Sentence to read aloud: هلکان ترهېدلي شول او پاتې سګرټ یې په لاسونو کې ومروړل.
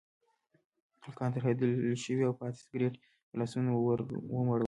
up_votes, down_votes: 2, 0